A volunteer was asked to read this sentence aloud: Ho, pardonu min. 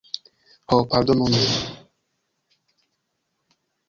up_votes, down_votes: 1, 2